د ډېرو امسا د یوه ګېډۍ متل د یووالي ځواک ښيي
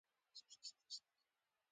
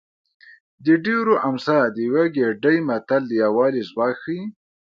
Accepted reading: second